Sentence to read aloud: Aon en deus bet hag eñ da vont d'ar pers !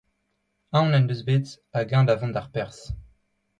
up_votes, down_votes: 2, 1